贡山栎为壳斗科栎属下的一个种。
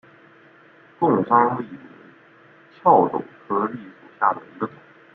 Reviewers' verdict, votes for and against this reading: rejected, 1, 2